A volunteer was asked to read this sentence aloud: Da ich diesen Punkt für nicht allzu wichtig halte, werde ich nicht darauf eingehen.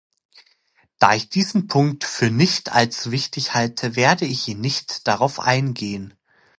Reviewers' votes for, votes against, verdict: 1, 2, rejected